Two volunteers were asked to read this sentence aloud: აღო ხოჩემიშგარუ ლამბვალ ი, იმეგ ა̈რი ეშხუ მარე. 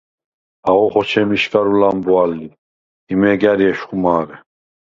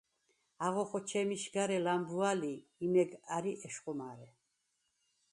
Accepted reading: first